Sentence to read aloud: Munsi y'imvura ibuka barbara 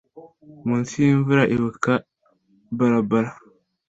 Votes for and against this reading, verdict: 2, 0, accepted